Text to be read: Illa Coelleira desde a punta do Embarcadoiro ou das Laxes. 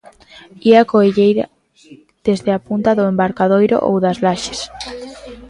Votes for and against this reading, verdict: 0, 2, rejected